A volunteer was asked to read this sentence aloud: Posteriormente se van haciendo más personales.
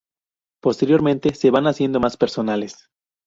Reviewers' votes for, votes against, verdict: 2, 0, accepted